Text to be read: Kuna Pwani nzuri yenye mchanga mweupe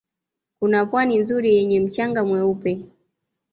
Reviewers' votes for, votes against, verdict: 2, 0, accepted